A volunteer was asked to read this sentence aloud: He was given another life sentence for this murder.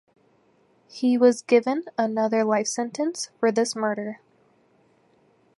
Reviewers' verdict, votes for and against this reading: accepted, 4, 0